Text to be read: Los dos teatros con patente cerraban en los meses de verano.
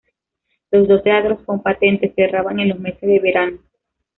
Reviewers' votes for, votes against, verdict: 0, 2, rejected